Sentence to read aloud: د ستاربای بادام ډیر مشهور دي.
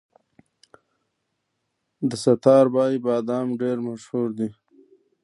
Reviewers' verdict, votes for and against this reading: accepted, 3, 0